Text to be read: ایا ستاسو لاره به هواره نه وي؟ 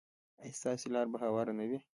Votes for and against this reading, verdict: 1, 2, rejected